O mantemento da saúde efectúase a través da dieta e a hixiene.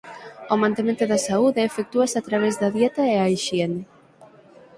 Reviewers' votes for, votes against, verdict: 6, 0, accepted